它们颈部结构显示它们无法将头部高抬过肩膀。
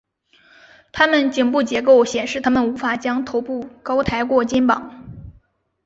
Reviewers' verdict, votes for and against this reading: accepted, 2, 1